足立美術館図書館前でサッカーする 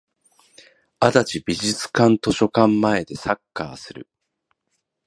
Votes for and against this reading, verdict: 1, 2, rejected